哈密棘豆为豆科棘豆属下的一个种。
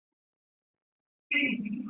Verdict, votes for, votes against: rejected, 0, 2